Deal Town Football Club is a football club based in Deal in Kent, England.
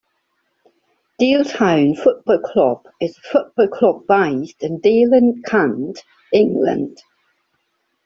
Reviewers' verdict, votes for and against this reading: accepted, 2, 1